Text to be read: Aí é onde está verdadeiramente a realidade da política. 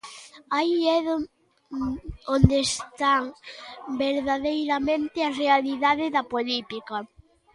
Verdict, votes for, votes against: rejected, 0, 2